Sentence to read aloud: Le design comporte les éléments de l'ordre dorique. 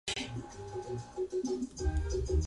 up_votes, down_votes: 0, 2